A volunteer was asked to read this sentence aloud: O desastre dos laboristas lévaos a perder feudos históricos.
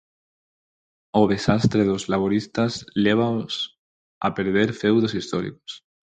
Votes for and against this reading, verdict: 4, 0, accepted